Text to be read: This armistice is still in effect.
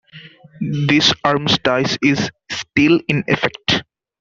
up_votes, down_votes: 1, 2